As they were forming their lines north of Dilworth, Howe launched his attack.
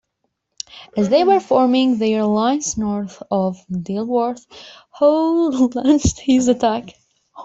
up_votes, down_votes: 2, 0